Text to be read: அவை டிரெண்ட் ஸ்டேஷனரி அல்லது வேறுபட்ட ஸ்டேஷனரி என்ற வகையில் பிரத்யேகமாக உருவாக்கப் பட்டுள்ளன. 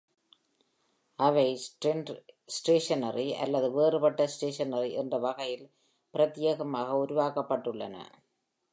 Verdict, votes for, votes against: accepted, 2, 0